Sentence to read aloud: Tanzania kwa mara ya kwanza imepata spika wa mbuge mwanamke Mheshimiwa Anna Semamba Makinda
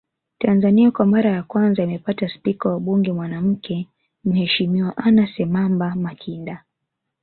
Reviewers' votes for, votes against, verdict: 0, 2, rejected